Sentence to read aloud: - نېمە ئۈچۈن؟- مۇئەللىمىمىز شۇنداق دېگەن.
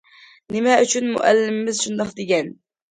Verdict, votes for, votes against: accepted, 2, 0